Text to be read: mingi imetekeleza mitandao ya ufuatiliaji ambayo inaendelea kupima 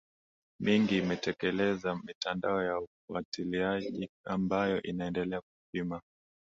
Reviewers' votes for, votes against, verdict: 6, 0, accepted